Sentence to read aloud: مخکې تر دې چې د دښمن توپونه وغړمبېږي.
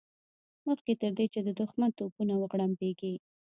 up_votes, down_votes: 1, 2